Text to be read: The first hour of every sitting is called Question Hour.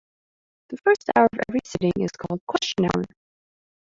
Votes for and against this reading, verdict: 1, 2, rejected